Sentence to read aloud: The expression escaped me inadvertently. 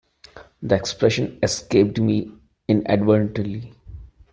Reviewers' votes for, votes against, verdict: 1, 2, rejected